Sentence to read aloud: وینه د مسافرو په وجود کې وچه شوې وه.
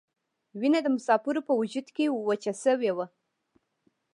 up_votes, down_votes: 2, 0